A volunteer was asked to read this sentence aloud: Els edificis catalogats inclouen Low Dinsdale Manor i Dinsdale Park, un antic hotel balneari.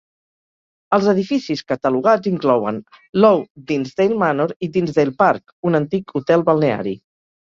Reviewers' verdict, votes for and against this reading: accepted, 2, 0